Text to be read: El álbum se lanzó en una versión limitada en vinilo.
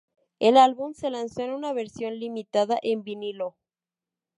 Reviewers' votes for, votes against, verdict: 2, 0, accepted